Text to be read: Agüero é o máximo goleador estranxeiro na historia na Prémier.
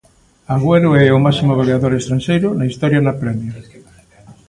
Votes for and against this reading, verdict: 2, 0, accepted